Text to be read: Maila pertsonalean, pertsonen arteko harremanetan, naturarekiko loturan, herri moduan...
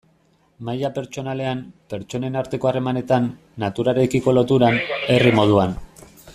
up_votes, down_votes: 1, 2